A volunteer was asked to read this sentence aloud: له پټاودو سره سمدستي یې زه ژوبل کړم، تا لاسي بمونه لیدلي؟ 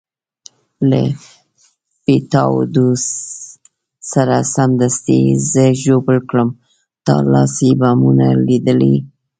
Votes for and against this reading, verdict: 1, 2, rejected